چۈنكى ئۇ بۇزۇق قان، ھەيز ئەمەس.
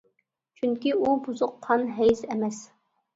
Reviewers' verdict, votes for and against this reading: accepted, 2, 0